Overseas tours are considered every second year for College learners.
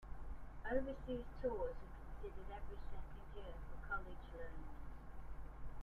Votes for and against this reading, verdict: 1, 2, rejected